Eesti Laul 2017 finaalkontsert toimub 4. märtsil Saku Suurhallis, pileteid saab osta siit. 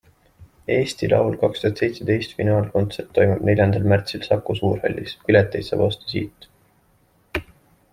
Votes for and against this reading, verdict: 0, 2, rejected